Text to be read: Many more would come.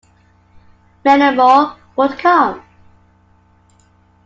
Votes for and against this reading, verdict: 2, 1, accepted